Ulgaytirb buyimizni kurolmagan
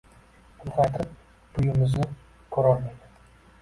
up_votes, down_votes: 0, 2